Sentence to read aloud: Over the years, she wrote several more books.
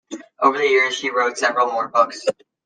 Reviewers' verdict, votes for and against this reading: accepted, 2, 0